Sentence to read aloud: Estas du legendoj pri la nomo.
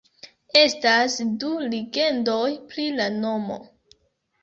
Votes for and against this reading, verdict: 1, 2, rejected